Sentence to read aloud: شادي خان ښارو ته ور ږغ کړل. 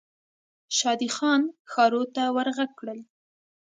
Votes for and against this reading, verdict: 2, 0, accepted